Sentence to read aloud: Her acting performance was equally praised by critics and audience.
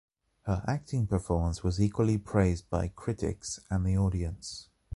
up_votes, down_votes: 0, 2